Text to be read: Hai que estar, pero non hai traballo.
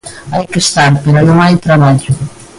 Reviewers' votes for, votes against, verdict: 3, 0, accepted